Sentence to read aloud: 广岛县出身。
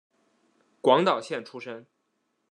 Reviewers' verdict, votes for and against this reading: accepted, 2, 0